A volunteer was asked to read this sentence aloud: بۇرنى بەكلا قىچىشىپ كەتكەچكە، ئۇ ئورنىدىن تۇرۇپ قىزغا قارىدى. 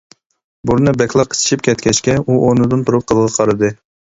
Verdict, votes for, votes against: rejected, 0, 2